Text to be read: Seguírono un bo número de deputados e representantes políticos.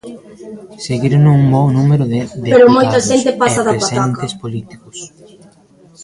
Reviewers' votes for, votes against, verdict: 0, 2, rejected